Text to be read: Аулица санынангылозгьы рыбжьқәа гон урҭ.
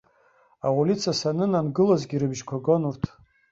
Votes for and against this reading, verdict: 1, 2, rejected